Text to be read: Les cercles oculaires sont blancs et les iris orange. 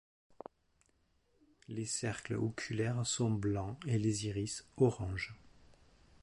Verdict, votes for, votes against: accepted, 4, 0